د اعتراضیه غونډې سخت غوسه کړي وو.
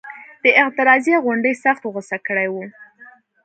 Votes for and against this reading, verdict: 2, 0, accepted